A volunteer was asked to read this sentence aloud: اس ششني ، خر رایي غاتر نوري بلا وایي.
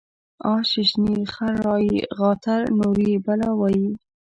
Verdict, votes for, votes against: rejected, 1, 2